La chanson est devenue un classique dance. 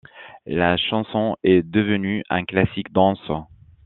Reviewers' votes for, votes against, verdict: 1, 2, rejected